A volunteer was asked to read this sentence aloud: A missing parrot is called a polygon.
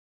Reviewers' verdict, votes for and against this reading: rejected, 0, 2